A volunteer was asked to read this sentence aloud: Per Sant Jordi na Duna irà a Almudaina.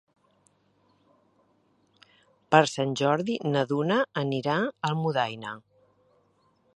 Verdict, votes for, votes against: rejected, 0, 2